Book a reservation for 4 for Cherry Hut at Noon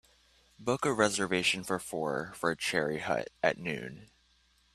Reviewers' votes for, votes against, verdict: 0, 2, rejected